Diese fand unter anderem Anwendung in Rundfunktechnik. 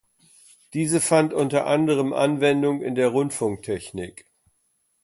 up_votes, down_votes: 0, 2